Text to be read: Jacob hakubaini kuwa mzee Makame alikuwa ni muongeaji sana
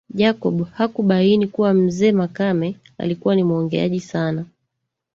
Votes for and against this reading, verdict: 2, 1, accepted